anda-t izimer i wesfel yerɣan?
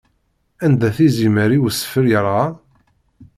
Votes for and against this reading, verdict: 2, 0, accepted